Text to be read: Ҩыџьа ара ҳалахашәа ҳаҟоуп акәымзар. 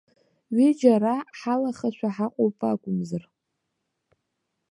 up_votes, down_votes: 2, 0